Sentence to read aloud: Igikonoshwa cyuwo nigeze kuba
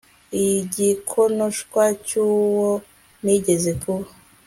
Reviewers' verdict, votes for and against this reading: accepted, 2, 0